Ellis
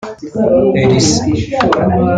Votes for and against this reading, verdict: 0, 2, rejected